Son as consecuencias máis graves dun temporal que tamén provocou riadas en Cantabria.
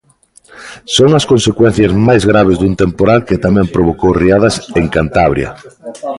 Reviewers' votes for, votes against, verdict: 1, 2, rejected